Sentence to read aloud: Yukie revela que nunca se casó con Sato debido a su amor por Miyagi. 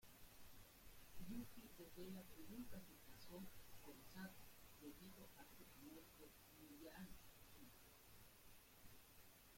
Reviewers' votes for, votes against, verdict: 0, 2, rejected